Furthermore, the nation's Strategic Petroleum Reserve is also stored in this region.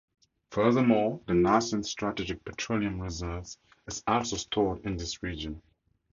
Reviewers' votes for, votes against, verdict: 2, 4, rejected